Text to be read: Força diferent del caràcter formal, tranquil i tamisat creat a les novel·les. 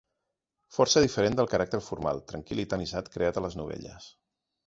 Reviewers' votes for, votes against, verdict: 0, 2, rejected